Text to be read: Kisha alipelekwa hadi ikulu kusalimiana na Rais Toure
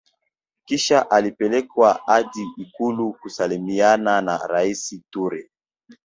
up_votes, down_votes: 0, 2